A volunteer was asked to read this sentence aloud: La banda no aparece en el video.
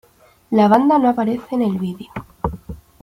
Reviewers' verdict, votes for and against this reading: accepted, 2, 0